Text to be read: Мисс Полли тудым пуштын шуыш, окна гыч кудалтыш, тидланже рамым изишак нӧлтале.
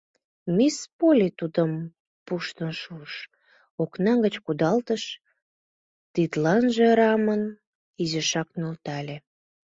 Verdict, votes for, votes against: rejected, 1, 2